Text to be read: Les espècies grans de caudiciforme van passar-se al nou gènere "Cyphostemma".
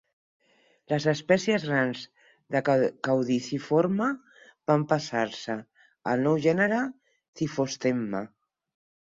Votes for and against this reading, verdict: 0, 4, rejected